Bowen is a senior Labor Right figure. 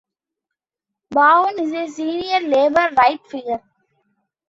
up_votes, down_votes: 2, 1